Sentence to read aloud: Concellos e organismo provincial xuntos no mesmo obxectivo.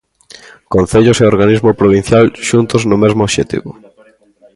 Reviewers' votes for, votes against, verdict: 2, 1, accepted